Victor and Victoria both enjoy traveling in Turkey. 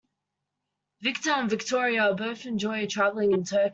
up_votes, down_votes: 1, 2